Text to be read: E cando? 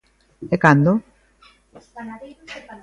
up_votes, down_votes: 1, 2